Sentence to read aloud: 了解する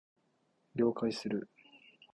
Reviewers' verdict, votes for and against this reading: accepted, 2, 1